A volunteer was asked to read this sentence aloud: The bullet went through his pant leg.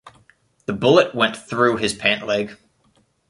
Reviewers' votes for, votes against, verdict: 2, 0, accepted